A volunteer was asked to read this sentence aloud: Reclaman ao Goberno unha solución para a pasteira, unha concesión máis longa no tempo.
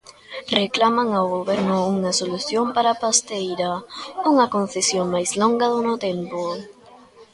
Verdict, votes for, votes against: rejected, 0, 2